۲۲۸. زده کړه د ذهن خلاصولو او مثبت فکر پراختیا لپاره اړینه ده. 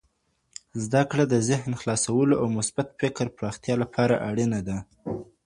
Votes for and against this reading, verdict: 0, 2, rejected